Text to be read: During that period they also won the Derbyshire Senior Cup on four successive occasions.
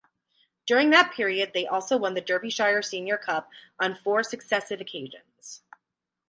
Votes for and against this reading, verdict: 16, 0, accepted